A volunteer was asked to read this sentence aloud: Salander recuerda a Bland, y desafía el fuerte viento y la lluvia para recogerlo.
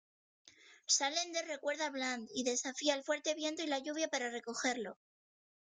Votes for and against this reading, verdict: 2, 0, accepted